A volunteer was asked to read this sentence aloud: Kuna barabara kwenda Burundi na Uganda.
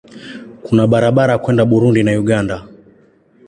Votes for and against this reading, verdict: 2, 0, accepted